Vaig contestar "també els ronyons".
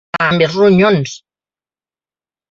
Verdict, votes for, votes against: rejected, 0, 2